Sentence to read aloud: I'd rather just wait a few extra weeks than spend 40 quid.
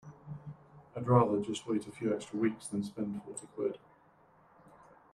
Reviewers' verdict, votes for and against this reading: rejected, 0, 2